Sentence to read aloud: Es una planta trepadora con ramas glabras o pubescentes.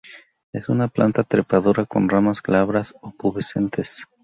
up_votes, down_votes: 0, 2